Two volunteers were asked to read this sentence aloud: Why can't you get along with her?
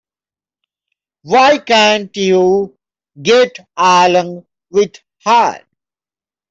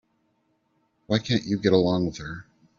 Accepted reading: second